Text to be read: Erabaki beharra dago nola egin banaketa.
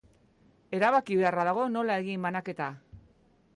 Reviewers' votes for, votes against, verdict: 3, 0, accepted